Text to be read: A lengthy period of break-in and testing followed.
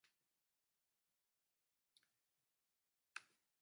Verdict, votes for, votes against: rejected, 0, 2